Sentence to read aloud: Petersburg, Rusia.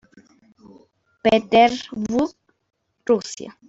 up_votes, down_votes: 2, 1